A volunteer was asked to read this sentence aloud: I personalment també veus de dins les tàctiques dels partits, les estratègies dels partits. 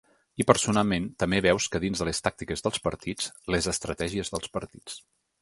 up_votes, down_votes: 0, 2